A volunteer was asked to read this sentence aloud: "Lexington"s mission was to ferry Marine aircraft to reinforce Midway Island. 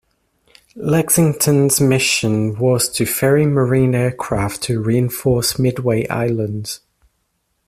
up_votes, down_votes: 2, 0